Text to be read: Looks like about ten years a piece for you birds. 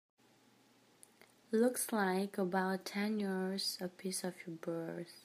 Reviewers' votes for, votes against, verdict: 1, 2, rejected